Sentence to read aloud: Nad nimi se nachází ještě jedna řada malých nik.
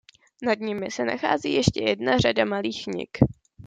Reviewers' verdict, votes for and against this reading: rejected, 1, 2